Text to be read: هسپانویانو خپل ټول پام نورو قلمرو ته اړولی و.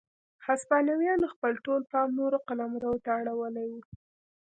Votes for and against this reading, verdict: 2, 0, accepted